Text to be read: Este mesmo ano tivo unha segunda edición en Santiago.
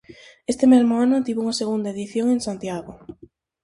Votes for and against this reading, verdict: 4, 0, accepted